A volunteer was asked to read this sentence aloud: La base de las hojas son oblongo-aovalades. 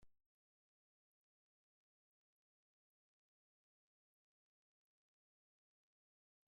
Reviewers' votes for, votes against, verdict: 0, 2, rejected